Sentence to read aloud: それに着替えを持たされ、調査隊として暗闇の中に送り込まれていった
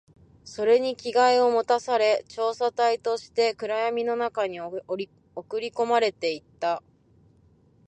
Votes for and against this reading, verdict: 2, 1, accepted